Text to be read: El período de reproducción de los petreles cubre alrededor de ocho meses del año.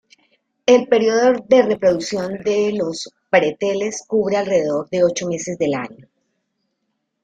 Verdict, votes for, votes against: rejected, 0, 2